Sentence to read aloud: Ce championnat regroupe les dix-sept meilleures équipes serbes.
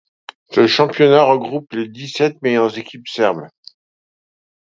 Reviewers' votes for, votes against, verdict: 2, 0, accepted